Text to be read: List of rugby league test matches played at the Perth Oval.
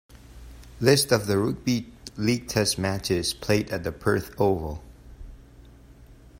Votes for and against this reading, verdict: 1, 2, rejected